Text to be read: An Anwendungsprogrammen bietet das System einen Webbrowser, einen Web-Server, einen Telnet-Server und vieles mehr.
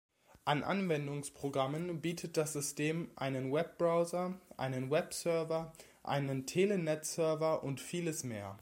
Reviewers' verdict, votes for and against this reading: rejected, 0, 2